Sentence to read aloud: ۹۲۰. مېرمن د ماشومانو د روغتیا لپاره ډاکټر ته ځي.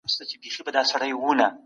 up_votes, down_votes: 0, 2